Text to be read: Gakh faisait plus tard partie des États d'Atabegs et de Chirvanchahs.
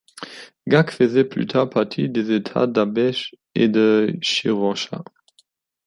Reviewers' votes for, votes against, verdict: 1, 2, rejected